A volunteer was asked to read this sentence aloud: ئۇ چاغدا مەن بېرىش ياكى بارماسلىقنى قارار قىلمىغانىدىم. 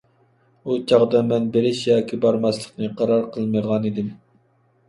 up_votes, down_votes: 3, 0